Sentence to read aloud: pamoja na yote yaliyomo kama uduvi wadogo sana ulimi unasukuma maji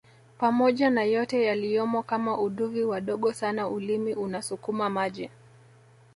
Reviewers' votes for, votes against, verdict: 2, 0, accepted